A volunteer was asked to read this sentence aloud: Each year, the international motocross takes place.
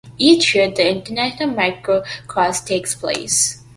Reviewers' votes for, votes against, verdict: 2, 0, accepted